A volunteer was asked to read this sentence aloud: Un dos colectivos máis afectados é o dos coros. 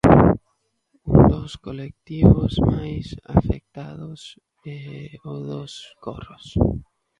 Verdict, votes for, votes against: rejected, 1, 11